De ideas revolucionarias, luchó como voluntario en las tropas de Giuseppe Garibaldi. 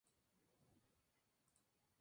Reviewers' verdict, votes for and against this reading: rejected, 0, 2